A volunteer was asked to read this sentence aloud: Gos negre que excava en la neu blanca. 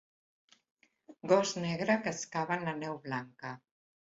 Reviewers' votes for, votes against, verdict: 2, 0, accepted